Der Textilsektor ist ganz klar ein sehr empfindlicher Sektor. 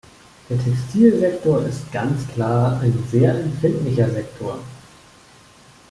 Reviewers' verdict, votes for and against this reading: rejected, 1, 2